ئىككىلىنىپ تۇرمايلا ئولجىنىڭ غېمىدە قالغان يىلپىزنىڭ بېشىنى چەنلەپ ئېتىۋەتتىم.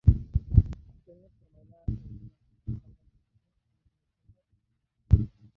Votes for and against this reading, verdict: 0, 2, rejected